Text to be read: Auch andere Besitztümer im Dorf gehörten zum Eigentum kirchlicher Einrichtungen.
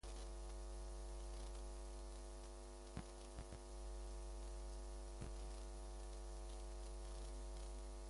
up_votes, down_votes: 0, 2